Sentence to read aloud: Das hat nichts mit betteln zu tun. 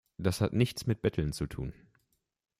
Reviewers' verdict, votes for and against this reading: accepted, 2, 0